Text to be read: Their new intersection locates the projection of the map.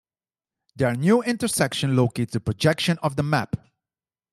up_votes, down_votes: 2, 0